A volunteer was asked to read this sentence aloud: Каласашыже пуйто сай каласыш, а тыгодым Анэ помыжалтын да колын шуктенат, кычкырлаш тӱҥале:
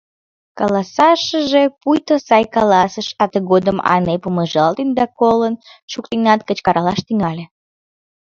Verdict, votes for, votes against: rejected, 0, 2